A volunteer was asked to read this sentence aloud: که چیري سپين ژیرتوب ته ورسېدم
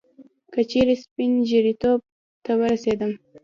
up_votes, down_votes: 0, 2